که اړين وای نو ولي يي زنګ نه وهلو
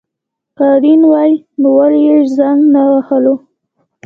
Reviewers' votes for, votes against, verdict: 1, 2, rejected